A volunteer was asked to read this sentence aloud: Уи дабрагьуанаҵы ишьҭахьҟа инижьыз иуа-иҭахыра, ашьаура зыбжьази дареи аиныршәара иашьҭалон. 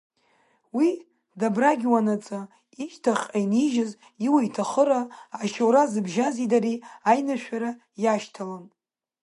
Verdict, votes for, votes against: accepted, 2, 1